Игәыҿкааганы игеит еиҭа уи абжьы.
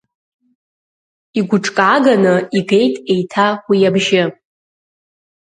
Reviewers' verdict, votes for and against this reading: accepted, 2, 0